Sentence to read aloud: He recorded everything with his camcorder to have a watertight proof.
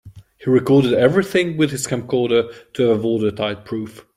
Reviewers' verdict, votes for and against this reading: rejected, 1, 2